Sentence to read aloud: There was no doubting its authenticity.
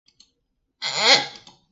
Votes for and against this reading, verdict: 0, 2, rejected